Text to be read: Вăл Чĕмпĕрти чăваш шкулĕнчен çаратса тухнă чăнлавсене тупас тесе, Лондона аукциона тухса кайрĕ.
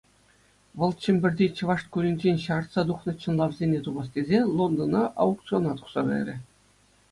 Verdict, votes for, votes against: accepted, 2, 0